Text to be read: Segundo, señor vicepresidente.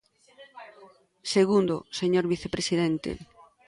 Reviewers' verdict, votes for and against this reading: rejected, 1, 2